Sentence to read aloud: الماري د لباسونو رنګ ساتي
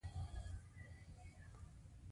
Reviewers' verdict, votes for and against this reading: rejected, 1, 2